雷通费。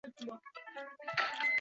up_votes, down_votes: 0, 6